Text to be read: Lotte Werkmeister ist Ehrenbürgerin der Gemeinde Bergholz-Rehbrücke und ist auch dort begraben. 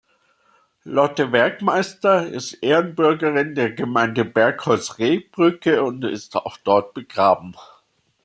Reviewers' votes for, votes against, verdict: 2, 0, accepted